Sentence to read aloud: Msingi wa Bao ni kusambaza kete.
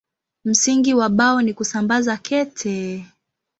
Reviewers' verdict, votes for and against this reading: rejected, 1, 2